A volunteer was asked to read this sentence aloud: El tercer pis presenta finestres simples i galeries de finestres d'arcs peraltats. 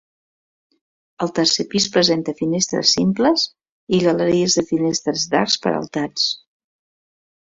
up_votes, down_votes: 2, 0